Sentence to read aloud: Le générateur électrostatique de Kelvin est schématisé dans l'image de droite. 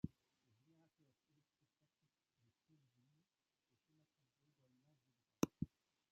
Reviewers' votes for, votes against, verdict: 1, 2, rejected